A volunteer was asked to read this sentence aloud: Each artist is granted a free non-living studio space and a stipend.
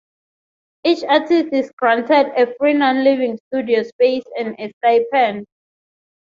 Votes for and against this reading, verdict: 0, 3, rejected